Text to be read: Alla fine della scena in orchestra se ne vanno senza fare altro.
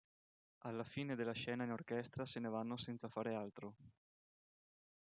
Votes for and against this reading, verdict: 2, 0, accepted